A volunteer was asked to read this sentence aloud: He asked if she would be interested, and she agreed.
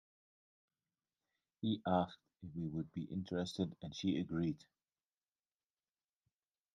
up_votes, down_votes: 0, 2